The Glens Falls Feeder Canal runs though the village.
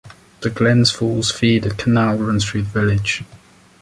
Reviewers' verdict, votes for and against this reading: rejected, 1, 2